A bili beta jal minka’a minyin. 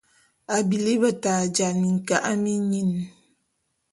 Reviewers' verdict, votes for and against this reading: accepted, 2, 0